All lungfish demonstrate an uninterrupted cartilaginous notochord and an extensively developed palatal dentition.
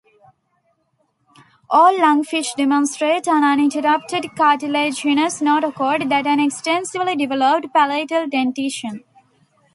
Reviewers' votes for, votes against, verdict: 2, 0, accepted